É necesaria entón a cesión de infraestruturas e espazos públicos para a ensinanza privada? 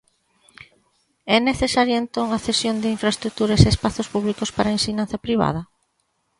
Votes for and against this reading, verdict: 2, 0, accepted